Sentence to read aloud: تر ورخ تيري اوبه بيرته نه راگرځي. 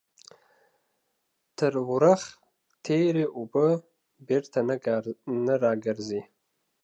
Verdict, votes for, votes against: rejected, 0, 2